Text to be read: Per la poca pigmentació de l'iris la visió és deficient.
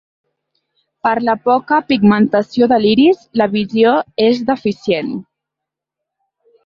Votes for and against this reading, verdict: 2, 1, accepted